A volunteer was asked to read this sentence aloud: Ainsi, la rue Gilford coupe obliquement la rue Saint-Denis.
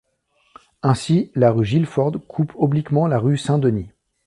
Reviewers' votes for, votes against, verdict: 2, 0, accepted